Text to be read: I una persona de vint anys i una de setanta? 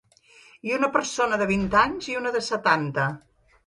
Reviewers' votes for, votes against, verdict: 1, 2, rejected